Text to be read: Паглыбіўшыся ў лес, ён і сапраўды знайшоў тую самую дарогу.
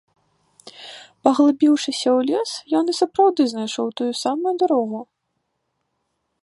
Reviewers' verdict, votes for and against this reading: rejected, 0, 2